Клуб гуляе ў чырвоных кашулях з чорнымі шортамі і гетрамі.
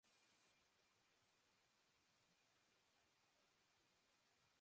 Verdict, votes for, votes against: rejected, 0, 2